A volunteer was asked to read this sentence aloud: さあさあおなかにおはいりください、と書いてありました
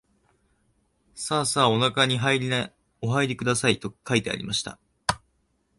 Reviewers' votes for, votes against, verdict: 0, 2, rejected